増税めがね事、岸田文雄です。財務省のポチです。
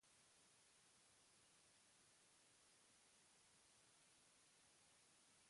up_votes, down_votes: 0, 2